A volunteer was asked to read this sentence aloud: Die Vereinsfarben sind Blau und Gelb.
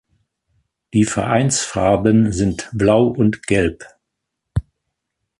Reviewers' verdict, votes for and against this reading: accepted, 2, 0